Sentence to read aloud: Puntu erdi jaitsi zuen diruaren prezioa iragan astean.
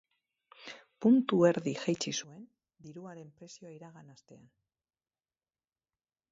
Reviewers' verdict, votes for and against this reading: rejected, 2, 4